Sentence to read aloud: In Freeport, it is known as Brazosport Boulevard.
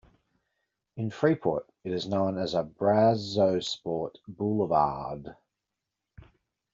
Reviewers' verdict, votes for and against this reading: rejected, 1, 2